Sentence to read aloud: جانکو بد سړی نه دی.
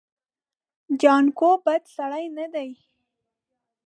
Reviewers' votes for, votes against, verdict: 2, 0, accepted